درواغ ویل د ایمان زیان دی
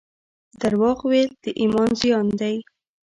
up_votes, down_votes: 2, 0